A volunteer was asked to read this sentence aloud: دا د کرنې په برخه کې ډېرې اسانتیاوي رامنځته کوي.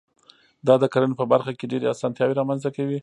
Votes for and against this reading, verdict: 1, 2, rejected